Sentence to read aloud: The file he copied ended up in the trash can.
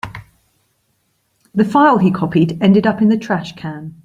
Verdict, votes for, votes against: accepted, 2, 0